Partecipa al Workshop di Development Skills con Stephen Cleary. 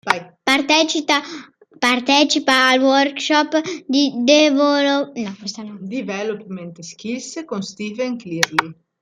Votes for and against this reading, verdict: 0, 2, rejected